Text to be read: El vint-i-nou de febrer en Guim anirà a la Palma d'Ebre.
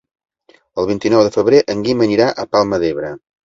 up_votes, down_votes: 0, 2